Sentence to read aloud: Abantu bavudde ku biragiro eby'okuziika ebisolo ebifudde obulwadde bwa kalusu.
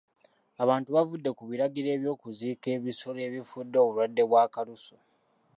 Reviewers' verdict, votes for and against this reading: accepted, 2, 0